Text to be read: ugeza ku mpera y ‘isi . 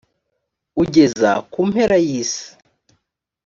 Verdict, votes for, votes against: accepted, 2, 0